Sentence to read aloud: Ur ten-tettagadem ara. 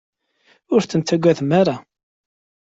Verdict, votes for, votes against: accepted, 2, 0